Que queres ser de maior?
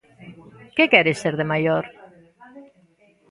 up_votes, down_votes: 2, 0